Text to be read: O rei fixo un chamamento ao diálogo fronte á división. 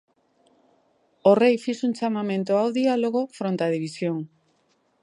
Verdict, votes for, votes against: accepted, 2, 0